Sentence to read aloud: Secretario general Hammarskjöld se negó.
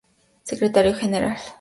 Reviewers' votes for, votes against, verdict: 0, 4, rejected